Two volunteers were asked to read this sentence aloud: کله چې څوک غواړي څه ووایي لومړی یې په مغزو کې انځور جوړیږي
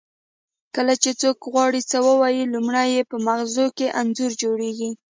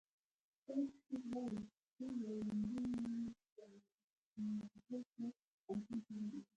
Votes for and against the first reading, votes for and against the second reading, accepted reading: 2, 0, 1, 2, first